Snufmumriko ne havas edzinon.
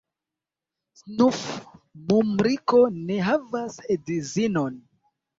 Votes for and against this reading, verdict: 0, 2, rejected